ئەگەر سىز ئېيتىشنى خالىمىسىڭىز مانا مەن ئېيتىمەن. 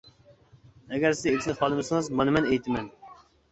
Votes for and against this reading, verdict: 2, 1, accepted